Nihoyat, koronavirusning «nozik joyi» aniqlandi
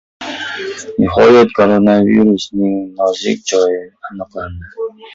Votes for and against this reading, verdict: 0, 2, rejected